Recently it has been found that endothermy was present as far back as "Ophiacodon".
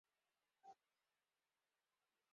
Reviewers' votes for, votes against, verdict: 0, 4, rejected